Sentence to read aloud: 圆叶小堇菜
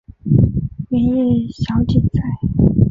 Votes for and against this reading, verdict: 2, 0, accepted